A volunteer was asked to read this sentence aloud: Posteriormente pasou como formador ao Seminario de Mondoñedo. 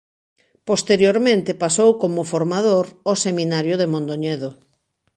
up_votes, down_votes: 2, 0